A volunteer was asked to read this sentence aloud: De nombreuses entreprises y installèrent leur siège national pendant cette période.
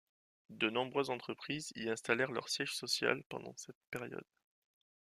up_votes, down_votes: 1, 2